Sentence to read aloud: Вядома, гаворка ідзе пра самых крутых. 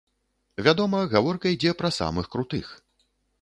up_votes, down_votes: 2, 0